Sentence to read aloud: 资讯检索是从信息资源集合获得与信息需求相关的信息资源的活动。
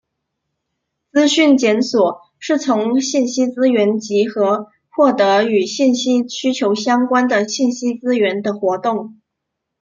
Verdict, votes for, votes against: accepted, 2, 0